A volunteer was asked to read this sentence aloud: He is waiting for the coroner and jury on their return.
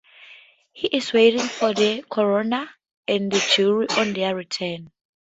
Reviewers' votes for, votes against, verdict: 2, 0, accepted